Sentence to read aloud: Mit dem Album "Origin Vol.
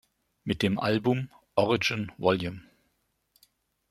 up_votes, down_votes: 1, 2